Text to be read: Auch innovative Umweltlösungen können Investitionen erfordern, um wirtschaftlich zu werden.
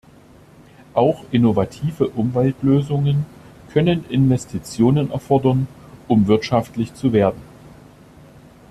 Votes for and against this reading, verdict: 2, 0, accepted